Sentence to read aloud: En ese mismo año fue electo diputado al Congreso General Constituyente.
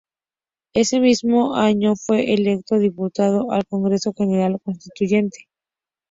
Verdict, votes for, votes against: accepted, 2, 0